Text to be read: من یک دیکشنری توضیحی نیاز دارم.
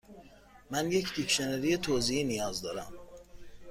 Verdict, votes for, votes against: accepted, 2, 0